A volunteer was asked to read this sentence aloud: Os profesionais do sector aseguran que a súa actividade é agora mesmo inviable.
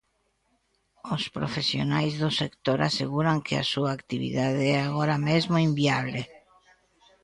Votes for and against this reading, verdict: 1, 2, rejected